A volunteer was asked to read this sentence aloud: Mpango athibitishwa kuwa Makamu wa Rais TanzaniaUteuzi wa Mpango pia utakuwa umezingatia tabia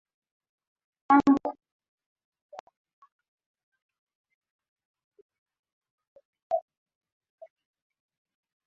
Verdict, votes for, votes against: rejected, 0, 3